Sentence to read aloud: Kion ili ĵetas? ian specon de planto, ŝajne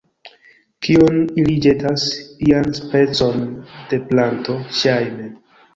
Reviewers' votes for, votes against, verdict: 2, 1, accepted